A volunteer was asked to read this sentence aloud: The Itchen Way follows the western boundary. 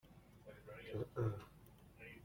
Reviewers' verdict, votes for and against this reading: rejected, 0, 2